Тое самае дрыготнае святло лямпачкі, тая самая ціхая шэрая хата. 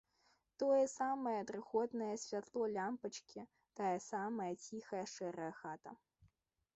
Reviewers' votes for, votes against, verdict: 2, 0, accepted